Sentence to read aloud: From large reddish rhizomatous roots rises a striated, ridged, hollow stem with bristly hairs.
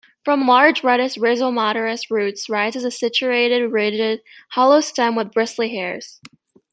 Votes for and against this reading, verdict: 1, 2, rejected